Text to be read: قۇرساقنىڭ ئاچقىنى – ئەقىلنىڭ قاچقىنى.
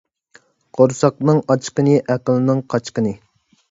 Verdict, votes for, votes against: accepted, 2, 1